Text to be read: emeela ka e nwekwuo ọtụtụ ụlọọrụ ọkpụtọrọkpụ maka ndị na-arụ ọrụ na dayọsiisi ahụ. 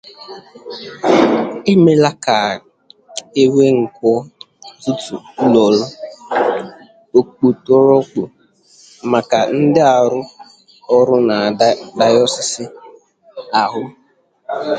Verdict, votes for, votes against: rejected, 0, 2